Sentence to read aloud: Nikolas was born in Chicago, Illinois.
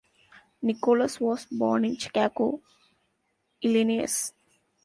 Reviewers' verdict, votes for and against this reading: rejected, 0, 2